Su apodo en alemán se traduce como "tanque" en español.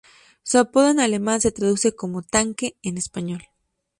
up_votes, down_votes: 2, 0